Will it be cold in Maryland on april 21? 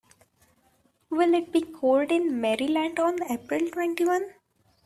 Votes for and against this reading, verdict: 0, 2, rejected